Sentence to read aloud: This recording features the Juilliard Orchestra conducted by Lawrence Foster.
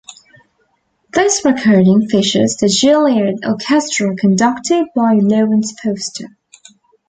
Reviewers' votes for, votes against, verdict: 0, 2, rejected